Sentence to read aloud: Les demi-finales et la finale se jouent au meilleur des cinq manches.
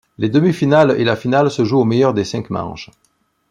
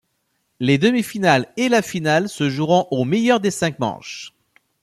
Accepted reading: first